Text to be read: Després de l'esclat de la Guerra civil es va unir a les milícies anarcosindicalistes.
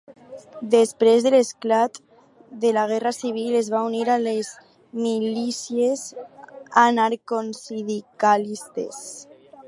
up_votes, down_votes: 2, 4